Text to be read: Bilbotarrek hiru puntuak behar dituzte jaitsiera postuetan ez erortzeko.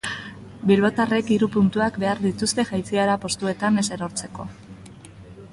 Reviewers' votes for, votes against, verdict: 3, 0, accepted